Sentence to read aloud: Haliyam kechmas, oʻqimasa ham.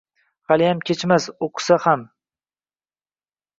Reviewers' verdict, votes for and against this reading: rejected, 0, 2